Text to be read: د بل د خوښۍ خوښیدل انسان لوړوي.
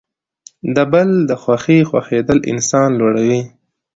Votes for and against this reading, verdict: 2, 0, accepted